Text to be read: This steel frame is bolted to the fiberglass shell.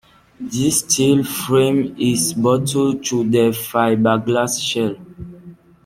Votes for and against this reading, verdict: 2, 1, accepted